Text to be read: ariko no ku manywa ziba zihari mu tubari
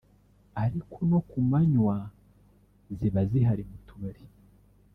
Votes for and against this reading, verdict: 1, 2, rejected